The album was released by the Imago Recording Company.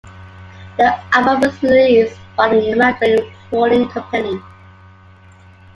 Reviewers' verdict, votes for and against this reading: rejected, 1, 2